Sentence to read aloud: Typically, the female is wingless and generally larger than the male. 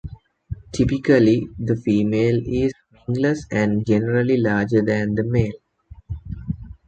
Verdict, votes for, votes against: rejected, 0, 2